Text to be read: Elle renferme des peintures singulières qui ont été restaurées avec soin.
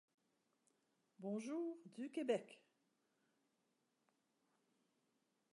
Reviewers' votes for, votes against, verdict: 0, 2, rejected